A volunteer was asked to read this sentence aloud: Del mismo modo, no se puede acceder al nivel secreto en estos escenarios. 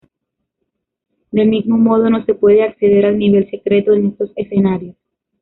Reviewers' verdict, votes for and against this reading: rejected, 1, 2